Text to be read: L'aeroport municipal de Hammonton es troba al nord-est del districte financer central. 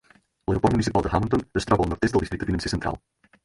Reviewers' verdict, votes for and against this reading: rejected, 2, 4